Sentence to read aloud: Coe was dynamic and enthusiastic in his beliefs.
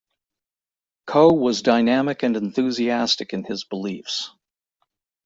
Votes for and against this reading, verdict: 2, 0, accepted